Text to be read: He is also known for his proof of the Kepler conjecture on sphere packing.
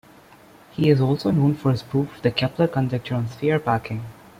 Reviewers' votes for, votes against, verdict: 2, 1, accepted